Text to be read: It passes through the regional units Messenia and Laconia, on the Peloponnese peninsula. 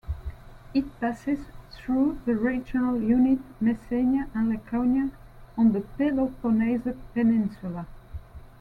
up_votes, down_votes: 0, 2